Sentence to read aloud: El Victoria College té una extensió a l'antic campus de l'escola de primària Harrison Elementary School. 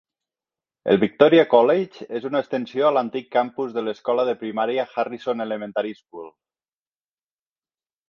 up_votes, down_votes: 1, 2